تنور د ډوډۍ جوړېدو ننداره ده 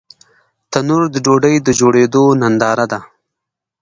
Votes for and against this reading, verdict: 0, 2, rejected